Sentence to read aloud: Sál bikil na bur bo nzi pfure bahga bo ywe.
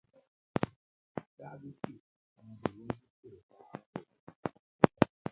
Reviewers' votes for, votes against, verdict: 0, 2, rejected